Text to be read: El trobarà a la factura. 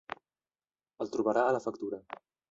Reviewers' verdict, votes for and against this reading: rejected, 1, 2